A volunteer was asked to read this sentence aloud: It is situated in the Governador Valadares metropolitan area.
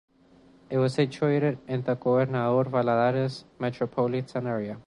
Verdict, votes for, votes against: rejected, 1, 2